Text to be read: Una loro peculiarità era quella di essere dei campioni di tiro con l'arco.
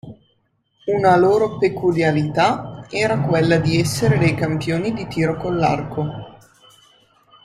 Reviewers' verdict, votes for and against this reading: accepted, 2, 0